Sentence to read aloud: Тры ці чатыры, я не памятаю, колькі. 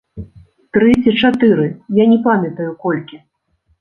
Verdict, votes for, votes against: accepted, 2, 0